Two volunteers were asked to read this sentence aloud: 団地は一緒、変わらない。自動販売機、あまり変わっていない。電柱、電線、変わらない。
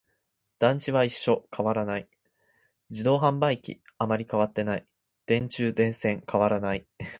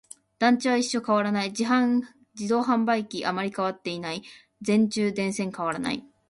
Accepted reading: first